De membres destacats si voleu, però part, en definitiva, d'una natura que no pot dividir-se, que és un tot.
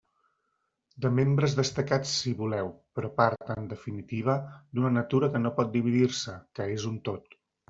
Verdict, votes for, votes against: accepted, 3, 0